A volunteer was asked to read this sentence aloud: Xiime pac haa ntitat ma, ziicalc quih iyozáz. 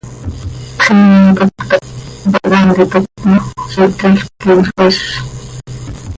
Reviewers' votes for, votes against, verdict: 1, 2, rejected